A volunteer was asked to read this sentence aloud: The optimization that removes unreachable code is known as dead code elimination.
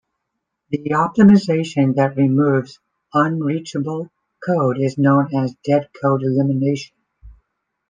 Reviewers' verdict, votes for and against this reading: rejected, 0, 2